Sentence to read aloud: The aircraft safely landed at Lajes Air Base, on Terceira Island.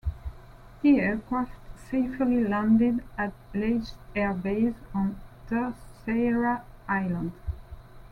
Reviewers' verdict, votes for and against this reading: rejected, 0, 2